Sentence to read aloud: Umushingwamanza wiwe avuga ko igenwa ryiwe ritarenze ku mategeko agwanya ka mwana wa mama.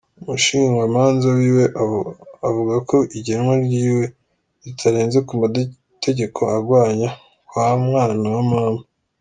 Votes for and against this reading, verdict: 0, 2, rejected